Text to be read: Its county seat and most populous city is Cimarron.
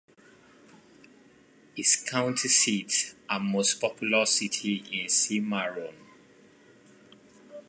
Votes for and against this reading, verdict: 1, 2, rejected